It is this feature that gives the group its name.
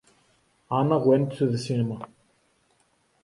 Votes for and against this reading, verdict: 0, 2, rejected